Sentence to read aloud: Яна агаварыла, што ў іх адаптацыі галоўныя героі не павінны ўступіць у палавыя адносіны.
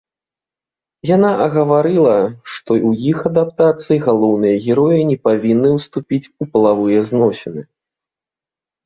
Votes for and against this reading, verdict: 1, 2, rejected